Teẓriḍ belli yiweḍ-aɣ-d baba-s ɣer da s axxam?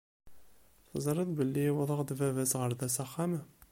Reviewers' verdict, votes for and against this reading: accepted, 2, 0